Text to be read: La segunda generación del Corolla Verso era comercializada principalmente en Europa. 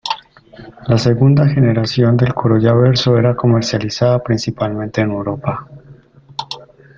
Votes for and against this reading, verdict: 0, 2, rejected